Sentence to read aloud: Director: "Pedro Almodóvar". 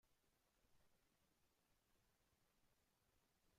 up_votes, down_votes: 0, 2